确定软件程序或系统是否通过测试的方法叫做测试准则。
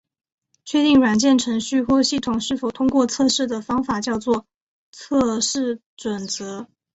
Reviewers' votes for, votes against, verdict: 2, 0, accepted